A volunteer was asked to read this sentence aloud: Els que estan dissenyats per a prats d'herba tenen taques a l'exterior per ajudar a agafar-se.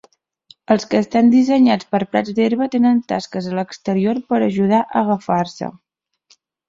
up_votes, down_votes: 1, 2